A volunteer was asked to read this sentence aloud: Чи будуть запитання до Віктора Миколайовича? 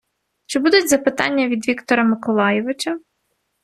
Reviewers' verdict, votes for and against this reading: rejected, 0, 2